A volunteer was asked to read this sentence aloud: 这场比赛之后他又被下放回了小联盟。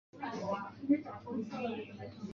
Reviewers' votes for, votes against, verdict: 0, 2, rejected